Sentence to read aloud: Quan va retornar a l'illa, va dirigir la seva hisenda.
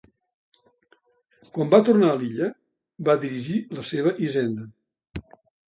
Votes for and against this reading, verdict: 1, 2, rejected